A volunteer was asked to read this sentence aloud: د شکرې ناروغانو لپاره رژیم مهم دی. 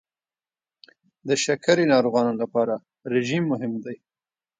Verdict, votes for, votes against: accepted, 2, 0